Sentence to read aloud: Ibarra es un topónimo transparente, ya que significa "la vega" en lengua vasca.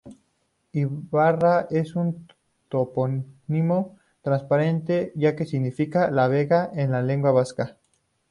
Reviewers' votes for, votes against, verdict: 0, 2, rejected